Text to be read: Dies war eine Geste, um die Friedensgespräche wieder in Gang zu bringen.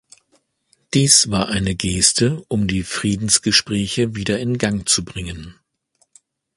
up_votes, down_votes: 2, 0